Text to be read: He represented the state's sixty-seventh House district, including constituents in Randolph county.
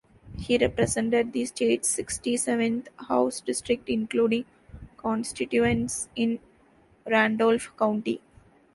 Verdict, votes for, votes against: rejected, 0, 2